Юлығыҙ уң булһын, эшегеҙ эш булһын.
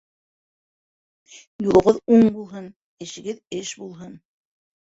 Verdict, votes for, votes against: rejected, 1, 2